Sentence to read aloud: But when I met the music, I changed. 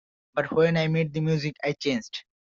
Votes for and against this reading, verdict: 2, 0, accepted